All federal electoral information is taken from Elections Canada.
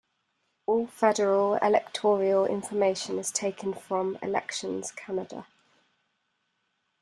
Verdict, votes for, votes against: rejected, 1, 2